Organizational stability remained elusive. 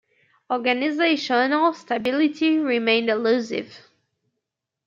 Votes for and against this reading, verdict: 2, 3, rejected